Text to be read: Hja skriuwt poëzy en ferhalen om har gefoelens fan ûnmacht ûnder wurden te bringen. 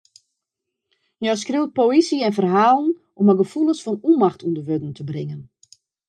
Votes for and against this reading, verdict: 1, 2, rejected